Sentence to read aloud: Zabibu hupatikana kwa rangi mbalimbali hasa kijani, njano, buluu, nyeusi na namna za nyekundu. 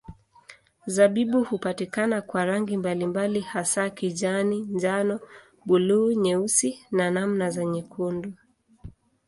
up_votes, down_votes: 2, 0